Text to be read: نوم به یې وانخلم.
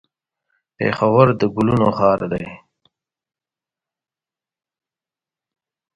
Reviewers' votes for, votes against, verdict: 2, 1, accepted